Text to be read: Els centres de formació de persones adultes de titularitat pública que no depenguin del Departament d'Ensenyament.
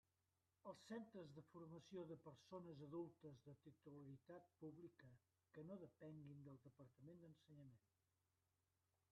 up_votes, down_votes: 0, 2